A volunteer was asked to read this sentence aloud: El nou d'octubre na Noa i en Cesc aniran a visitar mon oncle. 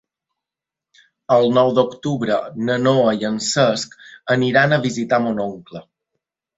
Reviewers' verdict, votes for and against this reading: accepted, 3, 0